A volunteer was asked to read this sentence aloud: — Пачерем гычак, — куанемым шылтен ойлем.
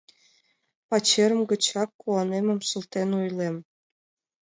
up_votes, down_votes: 2, 1